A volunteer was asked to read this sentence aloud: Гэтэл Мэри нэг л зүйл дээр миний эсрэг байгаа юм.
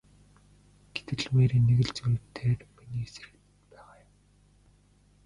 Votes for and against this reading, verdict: 0, 2, rejected